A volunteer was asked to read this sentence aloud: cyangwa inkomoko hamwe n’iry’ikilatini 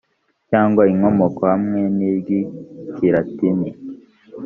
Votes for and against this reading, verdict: 3, 1, accepted